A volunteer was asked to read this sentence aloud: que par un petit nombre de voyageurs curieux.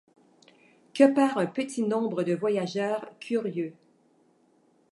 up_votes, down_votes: 2, 0